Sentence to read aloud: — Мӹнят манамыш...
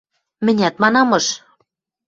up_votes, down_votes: 2, 0